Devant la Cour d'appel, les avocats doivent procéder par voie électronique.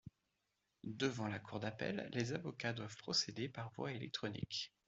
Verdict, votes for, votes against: accepted, 2, 0